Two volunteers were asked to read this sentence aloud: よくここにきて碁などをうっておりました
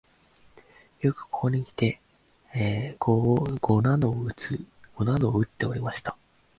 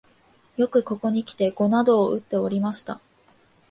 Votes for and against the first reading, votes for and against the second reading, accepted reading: 0, 3, 2, 0, second